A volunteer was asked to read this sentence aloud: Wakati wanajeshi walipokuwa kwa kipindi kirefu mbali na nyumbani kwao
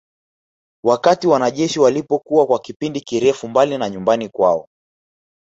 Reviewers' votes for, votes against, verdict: 0, 2, rejected